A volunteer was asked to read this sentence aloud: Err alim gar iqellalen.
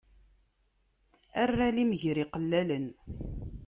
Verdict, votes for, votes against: rejected, 1, 2